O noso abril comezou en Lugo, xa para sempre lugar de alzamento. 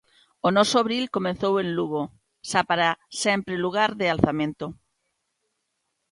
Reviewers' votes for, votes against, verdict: 1, 2, rejected